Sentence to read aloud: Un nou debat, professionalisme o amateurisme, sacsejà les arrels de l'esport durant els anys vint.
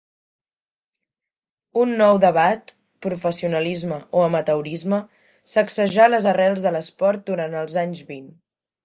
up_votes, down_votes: 2, 0